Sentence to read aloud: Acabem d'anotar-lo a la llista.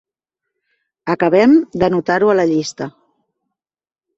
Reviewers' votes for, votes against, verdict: 0, 2, rejected